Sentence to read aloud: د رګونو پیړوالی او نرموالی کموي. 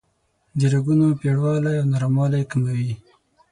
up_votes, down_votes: 6, 0